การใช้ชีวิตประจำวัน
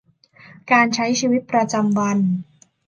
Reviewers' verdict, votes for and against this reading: accepted, 2, 0